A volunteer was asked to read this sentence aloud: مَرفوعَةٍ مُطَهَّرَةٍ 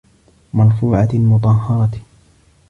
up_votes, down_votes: 2, 0